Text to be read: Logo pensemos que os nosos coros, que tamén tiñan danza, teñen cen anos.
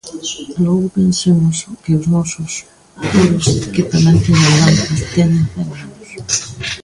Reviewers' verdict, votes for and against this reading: rejected, 0, 2